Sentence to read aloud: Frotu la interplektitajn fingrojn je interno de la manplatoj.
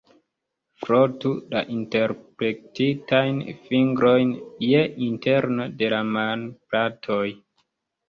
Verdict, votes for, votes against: rejected, 0, 2